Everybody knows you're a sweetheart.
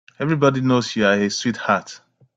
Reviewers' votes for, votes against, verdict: 1, 2, rejected